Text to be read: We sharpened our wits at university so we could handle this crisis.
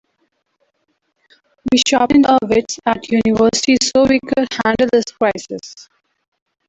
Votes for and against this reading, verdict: 1, 2, rejected